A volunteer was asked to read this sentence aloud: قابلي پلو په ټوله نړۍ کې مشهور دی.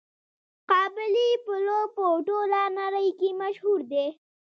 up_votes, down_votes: 2, 1